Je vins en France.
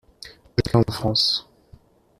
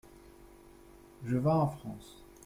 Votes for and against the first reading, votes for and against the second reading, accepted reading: 0, 2, 2, 0, second